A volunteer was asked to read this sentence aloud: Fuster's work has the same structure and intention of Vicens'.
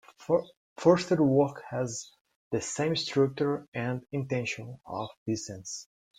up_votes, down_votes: 1, 2